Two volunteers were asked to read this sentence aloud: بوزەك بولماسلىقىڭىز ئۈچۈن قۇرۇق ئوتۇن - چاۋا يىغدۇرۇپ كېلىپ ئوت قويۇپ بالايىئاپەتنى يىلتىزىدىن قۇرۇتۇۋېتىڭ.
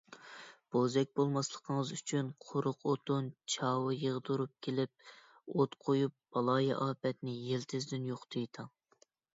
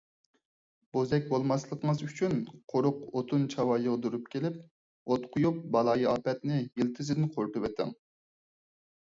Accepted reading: second